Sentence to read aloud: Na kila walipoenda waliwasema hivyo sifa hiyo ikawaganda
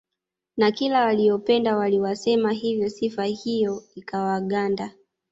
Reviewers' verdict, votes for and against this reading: rejected, 1, 2